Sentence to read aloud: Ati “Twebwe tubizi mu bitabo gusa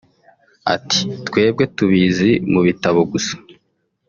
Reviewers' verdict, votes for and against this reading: rejected, 1, 2